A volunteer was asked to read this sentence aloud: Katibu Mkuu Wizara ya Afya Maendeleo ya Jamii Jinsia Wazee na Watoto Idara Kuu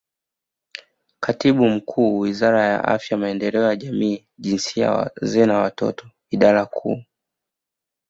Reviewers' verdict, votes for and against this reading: rejected, 1, 2